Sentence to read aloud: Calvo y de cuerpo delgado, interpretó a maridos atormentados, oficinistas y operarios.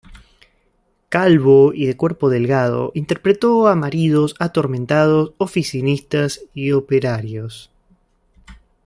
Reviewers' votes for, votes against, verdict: 2, 0, accepted